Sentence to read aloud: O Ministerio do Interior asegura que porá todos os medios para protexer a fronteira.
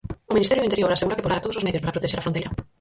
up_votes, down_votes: 0, 4